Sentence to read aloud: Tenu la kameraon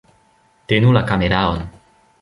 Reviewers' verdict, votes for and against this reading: rejected, 1, 2